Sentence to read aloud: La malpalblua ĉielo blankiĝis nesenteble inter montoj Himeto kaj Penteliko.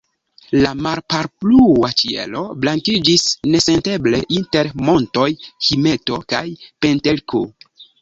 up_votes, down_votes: 0, 2